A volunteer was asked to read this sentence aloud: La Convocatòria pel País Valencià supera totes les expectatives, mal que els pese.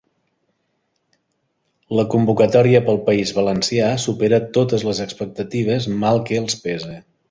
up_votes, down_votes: 3, 0